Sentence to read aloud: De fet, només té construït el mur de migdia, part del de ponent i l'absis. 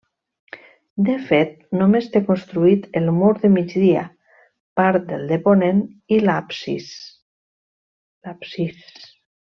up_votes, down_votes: 1, 2